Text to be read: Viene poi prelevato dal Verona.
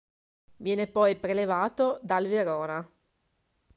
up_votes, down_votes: 2, 0